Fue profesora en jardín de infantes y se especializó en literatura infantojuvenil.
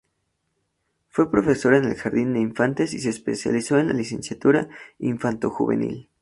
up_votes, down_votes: 0, 2